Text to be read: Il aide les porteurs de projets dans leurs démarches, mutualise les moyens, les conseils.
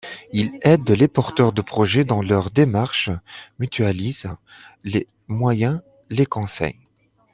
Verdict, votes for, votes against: accepted, 2, 1